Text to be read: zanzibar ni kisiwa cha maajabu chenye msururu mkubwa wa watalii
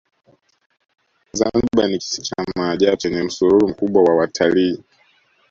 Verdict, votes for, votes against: rejected, 0, 2